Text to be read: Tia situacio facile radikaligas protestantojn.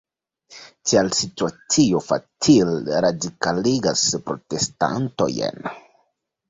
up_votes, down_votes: 1, 2